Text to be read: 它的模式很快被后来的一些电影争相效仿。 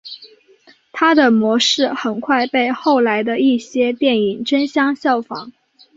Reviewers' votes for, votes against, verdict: 2, 0, accepted